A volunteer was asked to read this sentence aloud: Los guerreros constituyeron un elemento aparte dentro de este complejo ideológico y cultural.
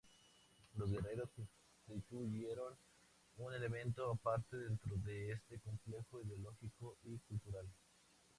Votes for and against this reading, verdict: 2, 0, accepted